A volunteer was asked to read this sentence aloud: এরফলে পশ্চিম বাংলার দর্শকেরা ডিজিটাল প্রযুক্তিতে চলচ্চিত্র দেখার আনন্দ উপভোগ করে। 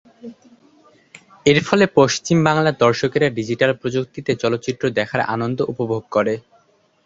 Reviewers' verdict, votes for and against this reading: accepted, 4, 2